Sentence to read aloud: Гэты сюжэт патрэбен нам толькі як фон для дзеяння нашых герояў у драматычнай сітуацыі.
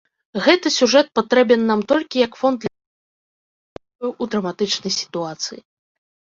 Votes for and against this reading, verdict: 1, 4, rejected